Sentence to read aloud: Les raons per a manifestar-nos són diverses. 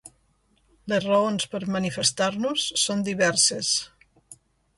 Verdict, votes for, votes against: rejected, 1, 2